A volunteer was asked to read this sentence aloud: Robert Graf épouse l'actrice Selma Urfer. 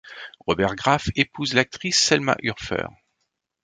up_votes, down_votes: 2, 0